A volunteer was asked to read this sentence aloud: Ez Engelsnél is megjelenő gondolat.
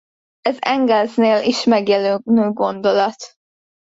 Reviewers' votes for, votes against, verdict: 1, 2, rejected